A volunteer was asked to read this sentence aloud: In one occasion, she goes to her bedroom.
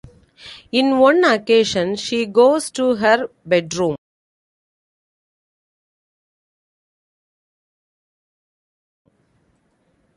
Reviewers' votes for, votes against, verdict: 2, 0, accepted